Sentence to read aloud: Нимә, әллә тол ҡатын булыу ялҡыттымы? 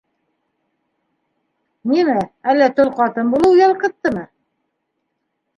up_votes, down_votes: 3, 1